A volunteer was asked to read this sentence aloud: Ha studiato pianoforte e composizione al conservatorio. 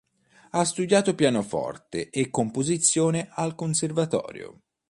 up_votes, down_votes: 3, 0